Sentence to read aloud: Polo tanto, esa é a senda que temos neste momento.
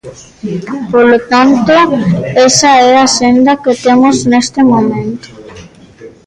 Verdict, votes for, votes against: rejected, 0, 2